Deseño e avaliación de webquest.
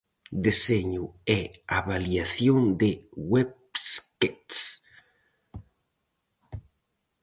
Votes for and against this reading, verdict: 0, 4, rejected